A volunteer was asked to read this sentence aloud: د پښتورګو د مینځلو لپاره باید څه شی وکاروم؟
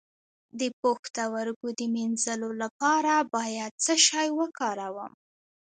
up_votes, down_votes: 1, 2